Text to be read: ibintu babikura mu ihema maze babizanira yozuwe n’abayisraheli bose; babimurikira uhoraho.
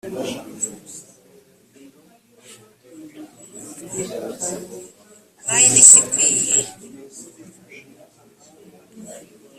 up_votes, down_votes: 1, 2